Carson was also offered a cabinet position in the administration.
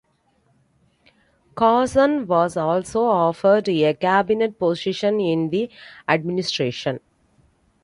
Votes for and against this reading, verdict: 2, 0, accepted